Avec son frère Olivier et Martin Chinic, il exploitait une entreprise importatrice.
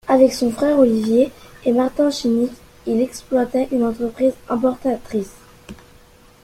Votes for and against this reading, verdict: 2, 0, accepted